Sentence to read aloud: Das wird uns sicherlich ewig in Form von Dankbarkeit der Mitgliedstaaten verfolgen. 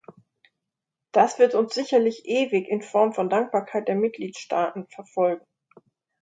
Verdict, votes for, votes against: accepted, 2, 0